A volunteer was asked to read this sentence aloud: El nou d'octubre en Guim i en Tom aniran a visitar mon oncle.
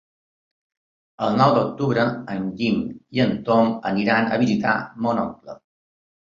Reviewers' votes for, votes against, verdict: 3, 0, accepted